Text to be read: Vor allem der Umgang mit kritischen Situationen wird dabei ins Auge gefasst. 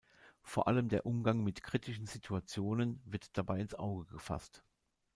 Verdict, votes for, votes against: rejected, 1, 2